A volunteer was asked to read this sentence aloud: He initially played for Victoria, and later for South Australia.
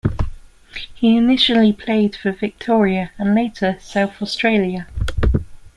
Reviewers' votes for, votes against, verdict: 1, 2, rejected